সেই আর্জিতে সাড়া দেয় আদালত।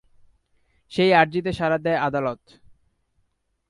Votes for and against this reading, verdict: 2, 0, accepted